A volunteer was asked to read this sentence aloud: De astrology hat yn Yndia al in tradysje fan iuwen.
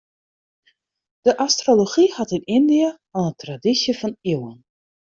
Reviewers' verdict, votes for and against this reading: rejected, 0, 2